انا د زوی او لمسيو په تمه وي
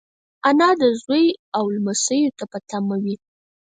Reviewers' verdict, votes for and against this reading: rejected, 0, 4